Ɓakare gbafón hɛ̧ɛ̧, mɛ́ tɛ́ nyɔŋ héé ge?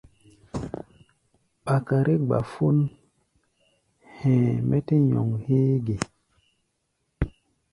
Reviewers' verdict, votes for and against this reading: accepted, 2, 0